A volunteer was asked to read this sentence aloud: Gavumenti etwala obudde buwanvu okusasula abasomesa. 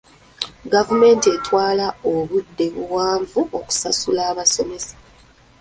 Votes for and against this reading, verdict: 2, 0, accepted